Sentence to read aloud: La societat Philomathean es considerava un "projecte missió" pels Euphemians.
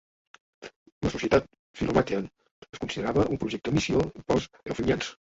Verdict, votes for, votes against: rejected, 1, 2